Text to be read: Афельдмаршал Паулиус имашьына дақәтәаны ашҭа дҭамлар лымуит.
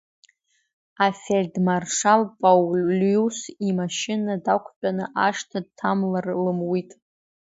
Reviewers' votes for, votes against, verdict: 0, 2, rejected